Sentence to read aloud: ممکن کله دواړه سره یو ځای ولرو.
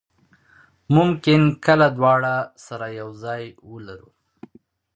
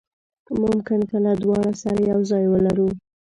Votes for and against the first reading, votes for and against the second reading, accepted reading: 2, 0, 0, 2, first